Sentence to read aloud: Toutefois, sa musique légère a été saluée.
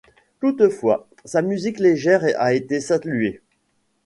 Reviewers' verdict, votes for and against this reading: rejected, 0, 2